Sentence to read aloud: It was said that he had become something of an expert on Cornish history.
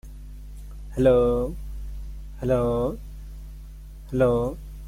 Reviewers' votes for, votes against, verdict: 0, 2, rejected